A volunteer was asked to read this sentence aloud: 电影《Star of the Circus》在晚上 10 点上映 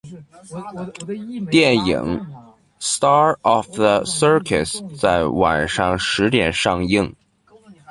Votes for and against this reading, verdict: 0, 2, rejected